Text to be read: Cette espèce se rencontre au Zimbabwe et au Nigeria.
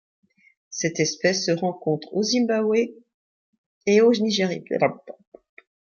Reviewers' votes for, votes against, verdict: 0, 2, rejected